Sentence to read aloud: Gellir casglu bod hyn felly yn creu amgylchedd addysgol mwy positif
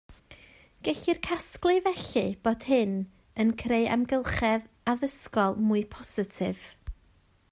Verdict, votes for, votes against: rejected, 1, 2